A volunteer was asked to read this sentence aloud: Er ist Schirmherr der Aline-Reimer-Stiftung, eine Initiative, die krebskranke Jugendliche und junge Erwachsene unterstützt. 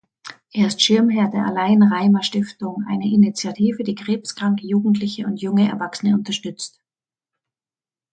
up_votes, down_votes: 1, 2